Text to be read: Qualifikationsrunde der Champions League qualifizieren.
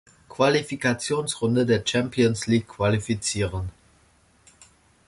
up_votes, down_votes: 2, 0